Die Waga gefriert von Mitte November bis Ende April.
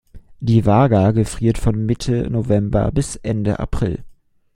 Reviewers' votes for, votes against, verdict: 2, 0, accepted